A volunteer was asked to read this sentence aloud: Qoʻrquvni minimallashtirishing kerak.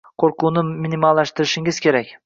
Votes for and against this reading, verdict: 2, 0, accepted